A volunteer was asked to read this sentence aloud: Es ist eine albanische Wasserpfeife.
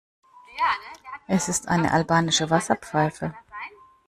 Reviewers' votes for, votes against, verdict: 1, 2, rejected